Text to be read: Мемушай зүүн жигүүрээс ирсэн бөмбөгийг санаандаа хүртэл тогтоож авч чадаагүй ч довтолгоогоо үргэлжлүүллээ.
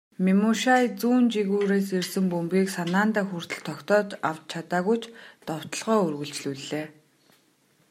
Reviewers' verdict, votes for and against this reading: accepted, 2, 1